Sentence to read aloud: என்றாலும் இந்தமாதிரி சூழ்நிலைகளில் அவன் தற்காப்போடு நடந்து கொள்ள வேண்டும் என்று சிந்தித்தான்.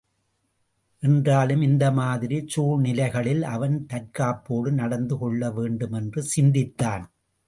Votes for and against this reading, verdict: 2, 0, accepted